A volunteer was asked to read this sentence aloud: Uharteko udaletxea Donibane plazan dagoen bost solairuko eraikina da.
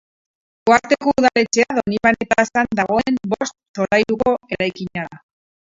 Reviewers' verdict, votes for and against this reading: rejected, 0, 4